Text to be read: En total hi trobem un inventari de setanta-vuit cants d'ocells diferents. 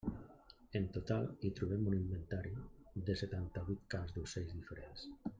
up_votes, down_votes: 0, 2